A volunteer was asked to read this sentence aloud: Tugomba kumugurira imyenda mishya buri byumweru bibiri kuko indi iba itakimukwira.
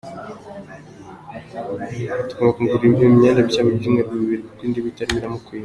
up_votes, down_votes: 0, 2